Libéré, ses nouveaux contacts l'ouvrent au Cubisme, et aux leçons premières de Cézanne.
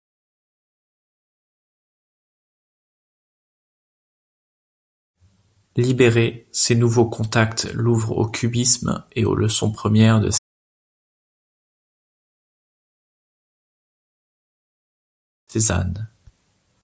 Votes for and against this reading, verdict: 0, 2, rejected